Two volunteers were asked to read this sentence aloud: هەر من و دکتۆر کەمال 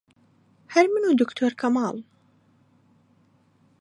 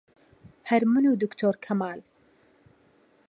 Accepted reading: second